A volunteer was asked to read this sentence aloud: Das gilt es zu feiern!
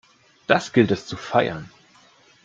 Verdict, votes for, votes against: accepted, 2, 0